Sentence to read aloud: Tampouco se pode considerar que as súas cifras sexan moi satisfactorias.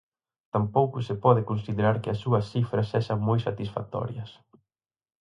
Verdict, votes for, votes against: accepted, 4, 0